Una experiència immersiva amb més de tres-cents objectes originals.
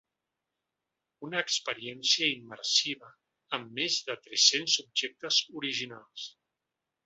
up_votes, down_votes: 4, 0